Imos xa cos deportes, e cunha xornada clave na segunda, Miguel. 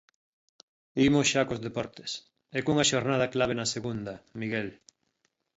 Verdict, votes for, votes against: accepted, 2, 1